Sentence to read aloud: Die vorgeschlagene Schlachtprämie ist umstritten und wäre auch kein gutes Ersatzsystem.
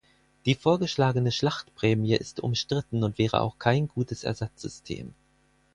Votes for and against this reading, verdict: 4, 0, accepted